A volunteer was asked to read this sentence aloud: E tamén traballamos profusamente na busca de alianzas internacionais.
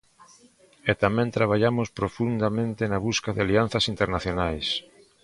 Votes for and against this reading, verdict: 0, 2, rejected